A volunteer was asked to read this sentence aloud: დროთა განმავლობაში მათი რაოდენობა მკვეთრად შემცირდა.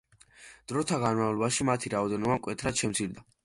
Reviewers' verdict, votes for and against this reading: accepted, 2, 0